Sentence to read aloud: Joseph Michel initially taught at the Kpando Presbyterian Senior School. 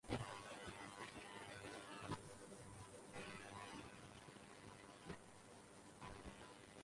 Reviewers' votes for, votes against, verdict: 0, 4, rejected